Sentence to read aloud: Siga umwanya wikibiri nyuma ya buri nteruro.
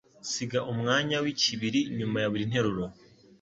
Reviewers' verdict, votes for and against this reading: accepted, 2, 0